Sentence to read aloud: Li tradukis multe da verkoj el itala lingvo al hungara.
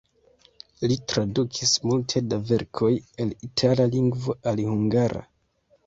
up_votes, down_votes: 1, 2